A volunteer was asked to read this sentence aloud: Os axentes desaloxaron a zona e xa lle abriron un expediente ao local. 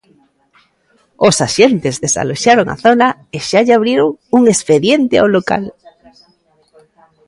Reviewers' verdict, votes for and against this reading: accepted, 2, 0